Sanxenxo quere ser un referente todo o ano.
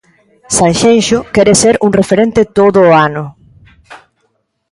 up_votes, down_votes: 2, 0